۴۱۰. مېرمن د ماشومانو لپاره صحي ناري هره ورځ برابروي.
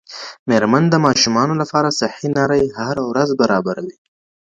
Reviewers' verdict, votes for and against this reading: rejected, 0, 2